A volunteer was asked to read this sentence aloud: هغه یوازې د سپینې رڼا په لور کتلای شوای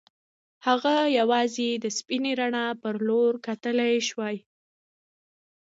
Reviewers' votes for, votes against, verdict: 2, 0, accepted